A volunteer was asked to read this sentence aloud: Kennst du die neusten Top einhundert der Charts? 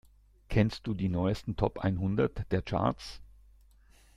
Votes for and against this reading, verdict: 2, 0, accepted